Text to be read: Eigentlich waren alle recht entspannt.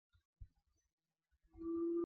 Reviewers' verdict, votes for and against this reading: rejected, 0, 2